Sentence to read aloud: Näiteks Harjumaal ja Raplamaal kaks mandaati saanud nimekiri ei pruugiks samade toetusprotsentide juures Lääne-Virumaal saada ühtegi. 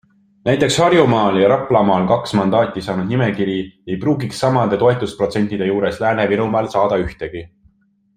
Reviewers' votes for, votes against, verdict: 3, 0, accepted